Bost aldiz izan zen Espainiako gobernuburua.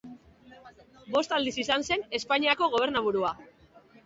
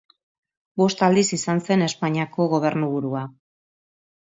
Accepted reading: second